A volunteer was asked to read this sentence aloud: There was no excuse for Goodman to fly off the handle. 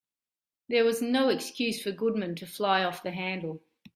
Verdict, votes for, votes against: accepted, 2, 1